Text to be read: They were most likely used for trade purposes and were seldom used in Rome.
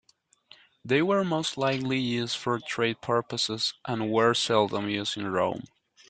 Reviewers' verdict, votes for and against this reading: accepted, 2, 0